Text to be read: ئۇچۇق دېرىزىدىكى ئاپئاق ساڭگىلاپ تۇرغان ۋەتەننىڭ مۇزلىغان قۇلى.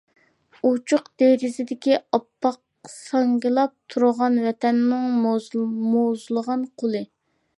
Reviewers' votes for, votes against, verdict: 0, 3, rejected